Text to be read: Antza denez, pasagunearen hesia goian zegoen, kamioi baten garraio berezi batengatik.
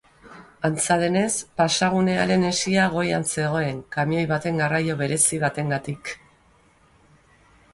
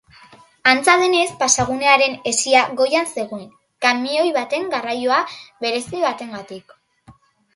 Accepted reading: first